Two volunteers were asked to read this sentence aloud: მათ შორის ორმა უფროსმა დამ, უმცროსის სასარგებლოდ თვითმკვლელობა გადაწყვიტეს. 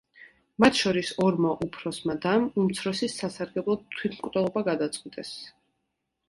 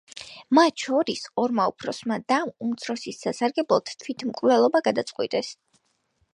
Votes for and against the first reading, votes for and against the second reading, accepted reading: 2, 0, 0, 2, first